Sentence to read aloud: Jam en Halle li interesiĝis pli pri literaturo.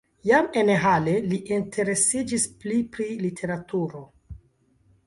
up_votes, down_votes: 0, 2